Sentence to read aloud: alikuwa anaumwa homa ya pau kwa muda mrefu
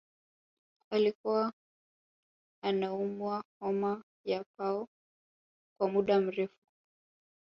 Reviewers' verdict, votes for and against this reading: rejected, 0, 2